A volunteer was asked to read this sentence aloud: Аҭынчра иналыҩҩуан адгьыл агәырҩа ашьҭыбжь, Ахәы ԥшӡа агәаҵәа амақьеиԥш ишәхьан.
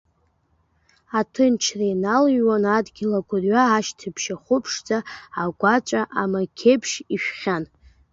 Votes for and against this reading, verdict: 0, 2, rejected